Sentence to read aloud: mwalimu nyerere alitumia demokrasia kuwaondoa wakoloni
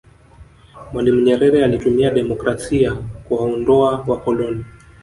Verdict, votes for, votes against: accepted, 2, 1